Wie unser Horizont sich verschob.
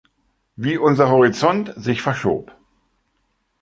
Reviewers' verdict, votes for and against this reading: accepted, 3, 1